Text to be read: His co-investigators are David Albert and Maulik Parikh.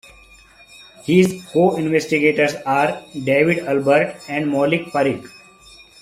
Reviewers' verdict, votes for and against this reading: accepted, 2, 1